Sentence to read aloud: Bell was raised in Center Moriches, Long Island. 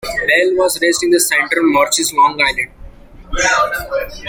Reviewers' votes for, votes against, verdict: 2, 1, accepted